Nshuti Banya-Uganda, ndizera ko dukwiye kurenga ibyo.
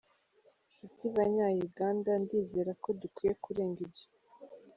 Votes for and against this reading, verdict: 2, 0, accepted